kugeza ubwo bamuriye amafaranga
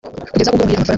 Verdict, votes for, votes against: rejected, 0, 2